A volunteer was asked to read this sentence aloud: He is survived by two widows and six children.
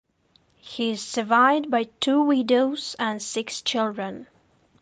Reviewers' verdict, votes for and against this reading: rejected, 1, 2